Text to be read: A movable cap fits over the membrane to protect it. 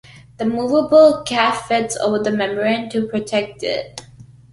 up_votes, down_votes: 2, 0